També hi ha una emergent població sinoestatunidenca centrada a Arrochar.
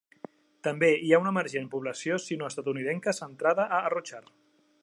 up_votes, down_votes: 2, 1